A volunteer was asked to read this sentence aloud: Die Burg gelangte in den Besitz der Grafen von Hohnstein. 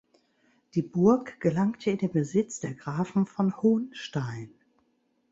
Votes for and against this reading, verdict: 2, 0, accepted